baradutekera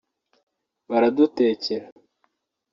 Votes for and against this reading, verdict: 2, 0, accepted